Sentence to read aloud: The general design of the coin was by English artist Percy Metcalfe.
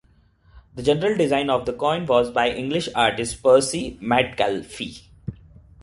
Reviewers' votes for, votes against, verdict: 1, 2, rejected